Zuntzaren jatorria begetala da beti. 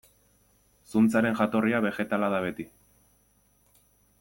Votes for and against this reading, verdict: 2, 0, accepted